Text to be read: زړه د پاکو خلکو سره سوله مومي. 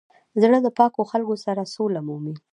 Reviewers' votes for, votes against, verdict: 1, 2, rejected